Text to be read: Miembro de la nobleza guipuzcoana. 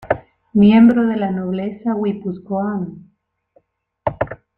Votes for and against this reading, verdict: 0, 2, rejected